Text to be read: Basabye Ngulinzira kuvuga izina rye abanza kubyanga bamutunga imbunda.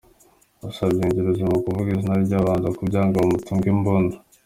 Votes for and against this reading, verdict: 2, 1, accepted